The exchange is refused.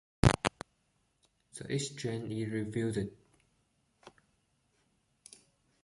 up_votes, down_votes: 1, 2